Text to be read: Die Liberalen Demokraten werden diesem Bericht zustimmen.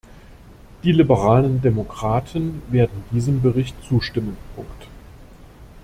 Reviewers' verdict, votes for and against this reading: rejected, 0, 2